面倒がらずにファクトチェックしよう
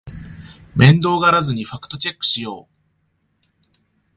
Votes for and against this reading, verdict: 2, 0, accepted